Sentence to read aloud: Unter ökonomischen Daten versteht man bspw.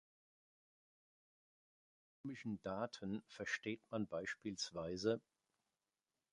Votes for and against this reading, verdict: 0, 2, rejected